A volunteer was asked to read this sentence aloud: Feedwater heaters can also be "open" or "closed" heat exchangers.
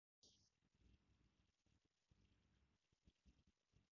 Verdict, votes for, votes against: rejected, 0, 2